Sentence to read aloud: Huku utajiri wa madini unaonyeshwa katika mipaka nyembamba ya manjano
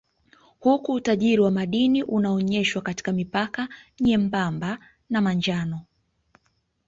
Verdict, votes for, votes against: rejected, 0, 2